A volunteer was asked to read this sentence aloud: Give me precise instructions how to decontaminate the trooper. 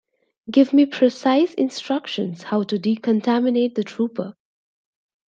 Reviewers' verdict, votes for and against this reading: accepted, 2, 0